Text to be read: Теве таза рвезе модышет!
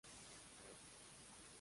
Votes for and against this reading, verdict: 0, 2, rejected